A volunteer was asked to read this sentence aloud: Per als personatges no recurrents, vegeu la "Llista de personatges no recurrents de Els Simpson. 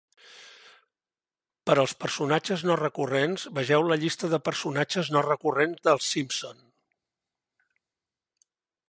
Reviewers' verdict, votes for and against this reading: accepted, 2, 1